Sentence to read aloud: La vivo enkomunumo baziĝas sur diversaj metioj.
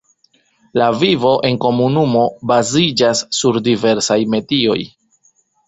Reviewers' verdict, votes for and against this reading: accepted, 2, 0